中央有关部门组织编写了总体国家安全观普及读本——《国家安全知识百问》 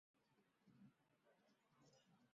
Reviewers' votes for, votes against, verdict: 0, 2, rejected